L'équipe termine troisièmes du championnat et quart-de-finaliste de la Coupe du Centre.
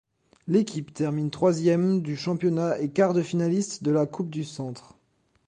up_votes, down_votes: 2, 0